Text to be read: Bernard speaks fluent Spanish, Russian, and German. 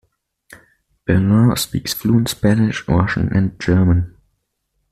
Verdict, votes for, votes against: rejected, 1, 2